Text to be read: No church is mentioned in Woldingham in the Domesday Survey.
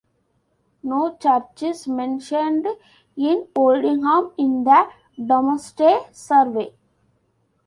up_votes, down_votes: 1, 2